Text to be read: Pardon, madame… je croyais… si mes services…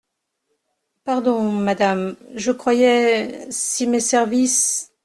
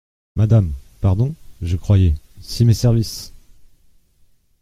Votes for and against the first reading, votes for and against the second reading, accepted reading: 2, 0, 0, 2, first